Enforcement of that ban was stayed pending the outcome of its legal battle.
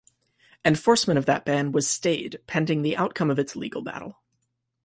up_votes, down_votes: 2, 0